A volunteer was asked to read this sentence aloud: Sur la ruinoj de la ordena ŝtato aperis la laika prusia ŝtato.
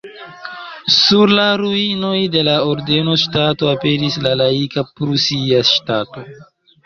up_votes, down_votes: 0, 2